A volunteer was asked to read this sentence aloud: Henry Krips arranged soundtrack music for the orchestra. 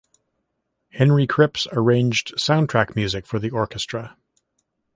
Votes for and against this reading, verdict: 2, 0, accepted